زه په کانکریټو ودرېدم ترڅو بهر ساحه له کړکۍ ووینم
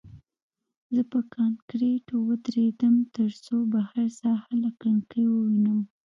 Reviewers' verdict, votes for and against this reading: rejected, 1, 2